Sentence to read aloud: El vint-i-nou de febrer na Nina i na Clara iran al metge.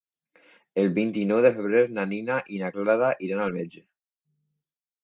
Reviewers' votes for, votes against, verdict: 2, 0, accepted